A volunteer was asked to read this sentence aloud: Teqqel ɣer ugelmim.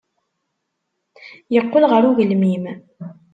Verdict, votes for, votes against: rejected, 1, 2